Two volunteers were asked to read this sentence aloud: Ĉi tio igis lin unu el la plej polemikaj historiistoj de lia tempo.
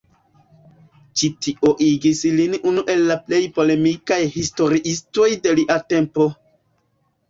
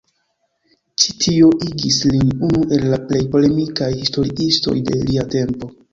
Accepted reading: first